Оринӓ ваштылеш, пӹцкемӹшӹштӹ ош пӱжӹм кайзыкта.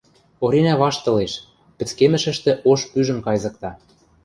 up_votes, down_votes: 2, 0